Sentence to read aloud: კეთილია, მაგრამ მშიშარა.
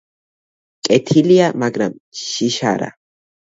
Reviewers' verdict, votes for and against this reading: rejected, 0, 2